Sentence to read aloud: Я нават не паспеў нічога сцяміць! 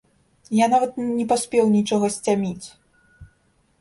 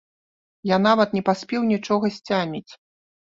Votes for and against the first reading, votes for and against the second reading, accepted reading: 0, 2, 2, 0, second